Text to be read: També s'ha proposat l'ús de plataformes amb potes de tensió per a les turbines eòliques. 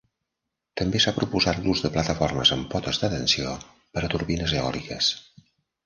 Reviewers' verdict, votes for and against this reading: rejected, 1, 2